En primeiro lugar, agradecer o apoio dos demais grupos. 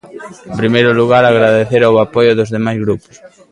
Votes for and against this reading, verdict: 2, 1, accepted